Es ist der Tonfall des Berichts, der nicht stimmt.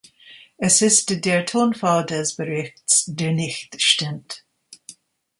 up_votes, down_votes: 0, 2